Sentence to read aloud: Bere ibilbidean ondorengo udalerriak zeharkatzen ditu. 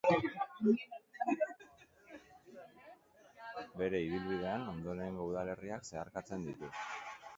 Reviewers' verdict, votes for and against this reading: rejected, 0, 2